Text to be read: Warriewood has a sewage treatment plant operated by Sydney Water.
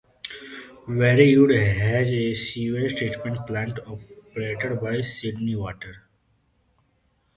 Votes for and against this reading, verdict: 1, 2, rejected